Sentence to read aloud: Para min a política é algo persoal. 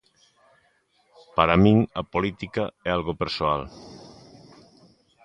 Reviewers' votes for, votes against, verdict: 2, 0, accepted